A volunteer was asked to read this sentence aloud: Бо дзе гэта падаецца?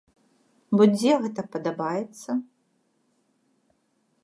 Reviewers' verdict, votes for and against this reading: rejected, 0, 2